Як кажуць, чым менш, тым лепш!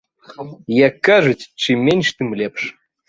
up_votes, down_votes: 2, 0